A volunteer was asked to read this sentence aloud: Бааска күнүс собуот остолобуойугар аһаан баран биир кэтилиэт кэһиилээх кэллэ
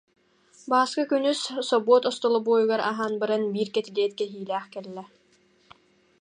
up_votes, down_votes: 2, 0